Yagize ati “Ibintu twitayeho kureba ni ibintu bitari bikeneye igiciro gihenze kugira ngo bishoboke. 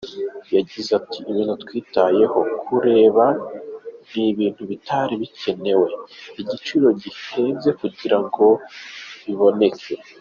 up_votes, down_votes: 0, 2